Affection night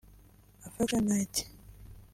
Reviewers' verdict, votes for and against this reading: accepted, 2, 1